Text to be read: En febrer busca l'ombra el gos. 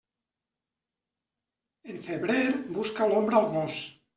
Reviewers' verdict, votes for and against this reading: rejected, 0, 2